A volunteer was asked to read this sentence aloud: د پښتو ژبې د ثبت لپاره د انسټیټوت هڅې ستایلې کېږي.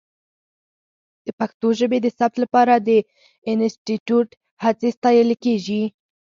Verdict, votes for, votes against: accepted, 4, 0